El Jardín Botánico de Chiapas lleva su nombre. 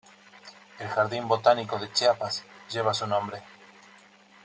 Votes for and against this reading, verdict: 3, 0, accepted